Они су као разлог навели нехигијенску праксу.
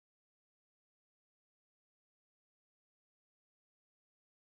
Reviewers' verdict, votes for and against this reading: rejected, 0, 2